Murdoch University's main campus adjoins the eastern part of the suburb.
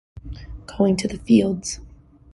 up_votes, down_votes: 0, 2